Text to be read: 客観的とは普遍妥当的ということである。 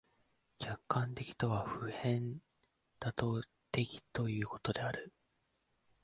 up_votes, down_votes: 1, 2